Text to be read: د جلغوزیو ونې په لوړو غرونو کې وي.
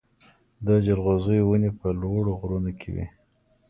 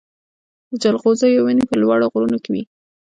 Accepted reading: first